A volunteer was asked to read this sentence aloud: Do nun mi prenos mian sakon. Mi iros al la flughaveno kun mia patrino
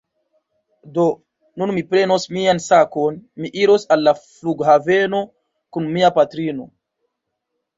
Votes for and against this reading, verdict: 1, 2, rejected